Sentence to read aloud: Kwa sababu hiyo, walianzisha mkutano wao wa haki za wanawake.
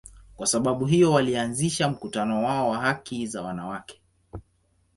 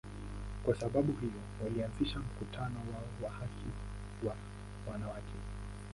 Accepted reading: first